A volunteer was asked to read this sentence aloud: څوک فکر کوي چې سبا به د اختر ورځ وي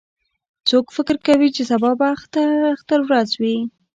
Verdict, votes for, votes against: rejected, 0, 2